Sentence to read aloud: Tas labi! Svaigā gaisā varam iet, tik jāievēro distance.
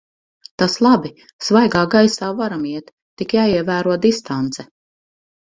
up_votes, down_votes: 4, 0